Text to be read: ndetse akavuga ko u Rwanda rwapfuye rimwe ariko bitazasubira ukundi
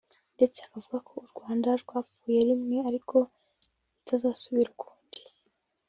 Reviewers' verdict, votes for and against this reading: rejected, 1, 2